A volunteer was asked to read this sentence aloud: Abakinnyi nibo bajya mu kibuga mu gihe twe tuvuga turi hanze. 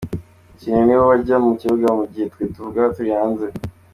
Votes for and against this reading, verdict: 2, 1, accepted